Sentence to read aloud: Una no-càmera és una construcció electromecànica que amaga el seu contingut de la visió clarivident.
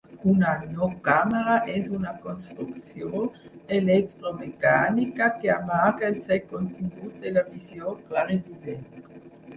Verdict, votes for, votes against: rejected, 0, 4